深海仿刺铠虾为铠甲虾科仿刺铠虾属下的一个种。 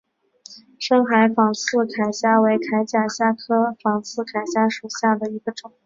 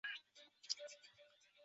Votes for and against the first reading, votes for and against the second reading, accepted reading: 3, 0, 1, 4, first